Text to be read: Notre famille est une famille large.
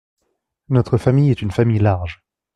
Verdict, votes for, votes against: accepted, 2, 0